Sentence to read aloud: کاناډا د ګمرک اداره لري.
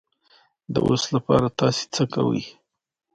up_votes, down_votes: 1, 2